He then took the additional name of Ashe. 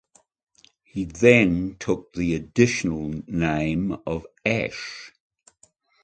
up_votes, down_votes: 2, 0